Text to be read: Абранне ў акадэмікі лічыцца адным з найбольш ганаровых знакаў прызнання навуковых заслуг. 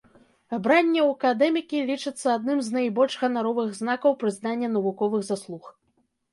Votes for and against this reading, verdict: 2, 0, accepted